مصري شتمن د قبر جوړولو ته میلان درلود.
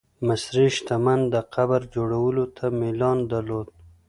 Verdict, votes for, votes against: accepted, 2, 0